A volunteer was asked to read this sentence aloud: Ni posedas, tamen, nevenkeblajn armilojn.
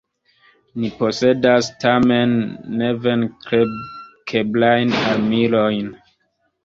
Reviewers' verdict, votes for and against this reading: accepted, 2, 1